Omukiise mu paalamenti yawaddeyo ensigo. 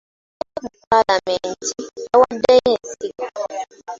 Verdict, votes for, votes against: rejected, 0, 2